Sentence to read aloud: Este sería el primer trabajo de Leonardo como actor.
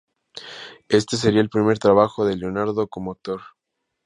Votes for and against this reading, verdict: 4, 0, accepted